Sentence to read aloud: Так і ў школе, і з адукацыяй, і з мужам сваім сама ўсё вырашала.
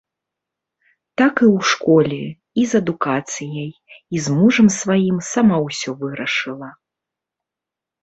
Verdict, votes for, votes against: rejected, 0, 2